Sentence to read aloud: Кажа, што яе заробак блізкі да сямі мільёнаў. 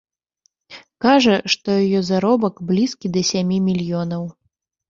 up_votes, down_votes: 1, 2